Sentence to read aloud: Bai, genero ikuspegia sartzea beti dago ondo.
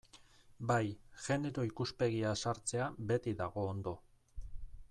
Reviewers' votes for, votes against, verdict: 1, 2, rejected